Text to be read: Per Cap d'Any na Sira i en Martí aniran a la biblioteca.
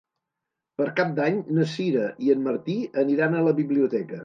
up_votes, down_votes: 2, 0